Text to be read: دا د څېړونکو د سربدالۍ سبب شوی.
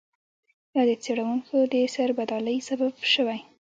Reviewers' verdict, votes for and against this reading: accepted, 2, 1